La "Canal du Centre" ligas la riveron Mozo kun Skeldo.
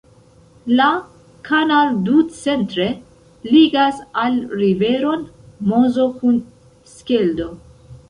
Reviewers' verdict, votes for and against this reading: rejected, 0, 2